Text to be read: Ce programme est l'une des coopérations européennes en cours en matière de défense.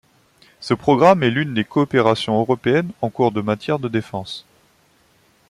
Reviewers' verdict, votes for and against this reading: rejected, 0, 2